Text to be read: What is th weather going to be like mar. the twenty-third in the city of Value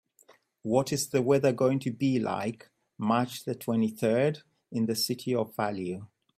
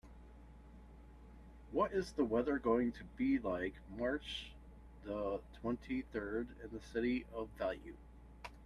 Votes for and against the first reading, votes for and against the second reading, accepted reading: 0, 2, 2, 0, second